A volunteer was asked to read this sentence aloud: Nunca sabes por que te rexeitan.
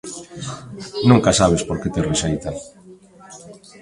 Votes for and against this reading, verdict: 2, 1, accepted